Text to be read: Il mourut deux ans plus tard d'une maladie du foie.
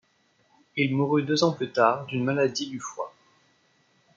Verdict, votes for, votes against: accepted, 2, 0